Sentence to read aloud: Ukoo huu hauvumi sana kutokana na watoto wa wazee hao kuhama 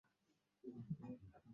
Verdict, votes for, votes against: rejected, 0, 2